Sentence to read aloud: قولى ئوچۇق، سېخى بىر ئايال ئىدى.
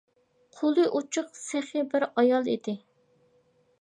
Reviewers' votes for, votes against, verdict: 2, 0, accepted